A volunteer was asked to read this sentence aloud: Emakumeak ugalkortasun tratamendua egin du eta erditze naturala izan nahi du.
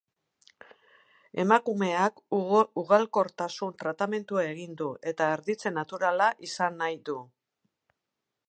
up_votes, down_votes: 0, 4